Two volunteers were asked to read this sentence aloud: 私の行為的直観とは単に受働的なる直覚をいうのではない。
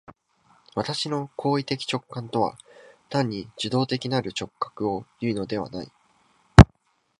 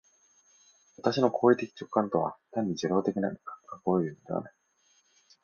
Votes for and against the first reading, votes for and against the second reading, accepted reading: 3, 0, 0, 2, first